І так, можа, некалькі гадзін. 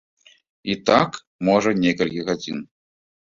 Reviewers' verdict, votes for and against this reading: accepted, 2, 0